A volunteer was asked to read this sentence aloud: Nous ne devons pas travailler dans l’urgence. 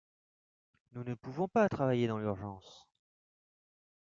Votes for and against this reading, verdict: 0, 2, rejected